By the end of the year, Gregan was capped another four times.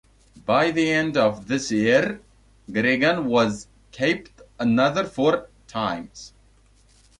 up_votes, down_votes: 0, 2